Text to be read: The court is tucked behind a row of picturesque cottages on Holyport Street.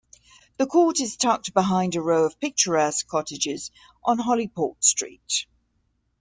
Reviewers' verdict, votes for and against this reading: accepted, 2, 0